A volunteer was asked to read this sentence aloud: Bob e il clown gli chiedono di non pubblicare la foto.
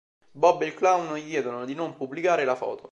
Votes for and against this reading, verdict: 1, 2, rejected